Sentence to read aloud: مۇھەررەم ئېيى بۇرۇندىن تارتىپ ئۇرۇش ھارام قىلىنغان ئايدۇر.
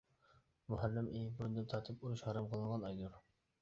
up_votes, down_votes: 0, 2